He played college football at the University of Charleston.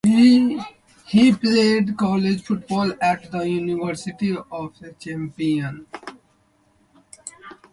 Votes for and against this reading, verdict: 0, 2, rejected